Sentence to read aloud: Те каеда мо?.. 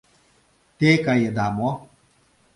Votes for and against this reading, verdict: 2, 0, accepted